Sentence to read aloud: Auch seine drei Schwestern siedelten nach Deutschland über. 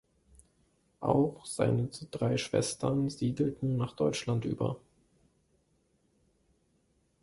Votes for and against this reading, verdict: 2, 1, accepted